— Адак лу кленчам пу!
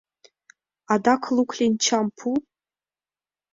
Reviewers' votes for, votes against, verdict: 2, 0, accepted